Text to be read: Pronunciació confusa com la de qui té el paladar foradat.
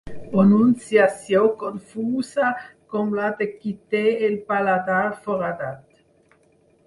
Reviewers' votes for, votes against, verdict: 2, 4, rejected